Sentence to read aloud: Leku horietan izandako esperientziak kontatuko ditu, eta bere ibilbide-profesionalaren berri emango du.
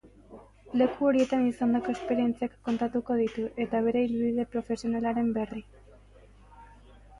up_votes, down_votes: 0, 3